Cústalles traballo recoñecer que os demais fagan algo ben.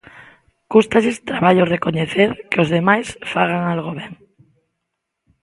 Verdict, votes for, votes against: accepted, 2, 0